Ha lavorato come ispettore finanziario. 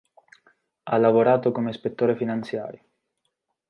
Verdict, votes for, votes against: accepted, 2, 0